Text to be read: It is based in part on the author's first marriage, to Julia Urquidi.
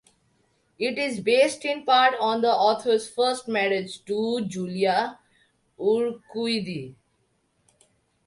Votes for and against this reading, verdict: 2, 0, accepted